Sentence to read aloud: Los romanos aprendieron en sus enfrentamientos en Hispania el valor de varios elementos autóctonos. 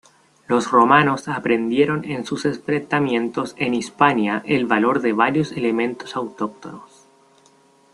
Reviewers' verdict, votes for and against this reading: rejected, 0, 2